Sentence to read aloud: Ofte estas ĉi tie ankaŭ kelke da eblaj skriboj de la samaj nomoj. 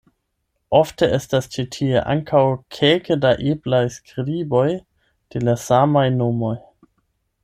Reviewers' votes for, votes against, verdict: 8, 4, accepted